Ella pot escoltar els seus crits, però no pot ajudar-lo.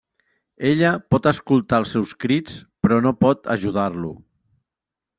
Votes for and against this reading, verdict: 3, 0, accepted